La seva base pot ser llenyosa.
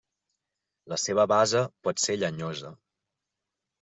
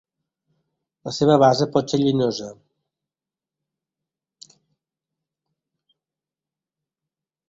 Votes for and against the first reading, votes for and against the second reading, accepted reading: 1, 2, 2, 1, second